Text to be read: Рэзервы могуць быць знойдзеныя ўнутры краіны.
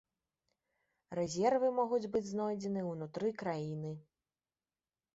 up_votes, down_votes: 1, 2